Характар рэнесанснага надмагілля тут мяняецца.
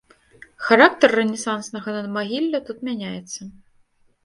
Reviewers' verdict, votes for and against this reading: accepted, 2, 0